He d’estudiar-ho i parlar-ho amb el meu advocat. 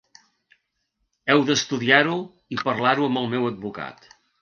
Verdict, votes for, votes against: rejected, 1, 2